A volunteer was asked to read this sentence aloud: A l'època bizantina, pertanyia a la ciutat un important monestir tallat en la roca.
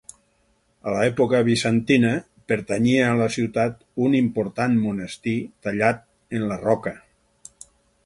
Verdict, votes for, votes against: rejected, 0, 4